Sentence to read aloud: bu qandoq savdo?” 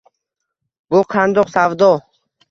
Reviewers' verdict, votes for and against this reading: rejected, 1, 2